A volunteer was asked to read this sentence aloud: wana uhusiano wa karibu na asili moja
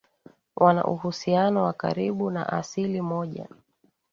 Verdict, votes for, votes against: accepted, 2, 0